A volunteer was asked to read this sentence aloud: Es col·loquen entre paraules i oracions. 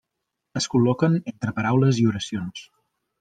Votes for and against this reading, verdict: 3, 1, accepted